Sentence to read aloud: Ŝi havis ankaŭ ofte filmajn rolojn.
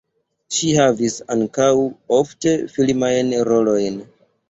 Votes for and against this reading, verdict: 0, 2, rejected